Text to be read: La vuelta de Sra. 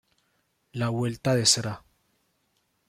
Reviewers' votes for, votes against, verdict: 0, 2, rejected